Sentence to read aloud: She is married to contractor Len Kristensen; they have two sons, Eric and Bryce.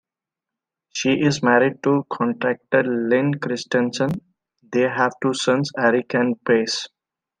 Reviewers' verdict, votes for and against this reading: accepted, 2, 0